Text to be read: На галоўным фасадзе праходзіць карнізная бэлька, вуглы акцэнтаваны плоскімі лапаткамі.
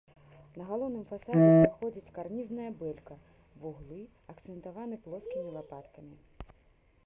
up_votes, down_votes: 0, 2